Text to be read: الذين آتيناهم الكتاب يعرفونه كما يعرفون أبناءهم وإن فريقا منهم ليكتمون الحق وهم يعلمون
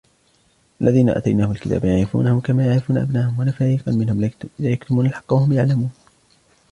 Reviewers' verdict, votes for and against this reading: rejected, 0, 2